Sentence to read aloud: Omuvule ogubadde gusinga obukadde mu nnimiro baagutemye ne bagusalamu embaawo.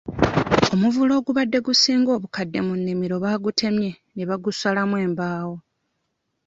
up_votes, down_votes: 2, 0